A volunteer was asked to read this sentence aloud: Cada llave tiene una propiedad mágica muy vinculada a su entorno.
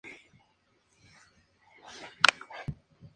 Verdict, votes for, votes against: rejected, 0, 2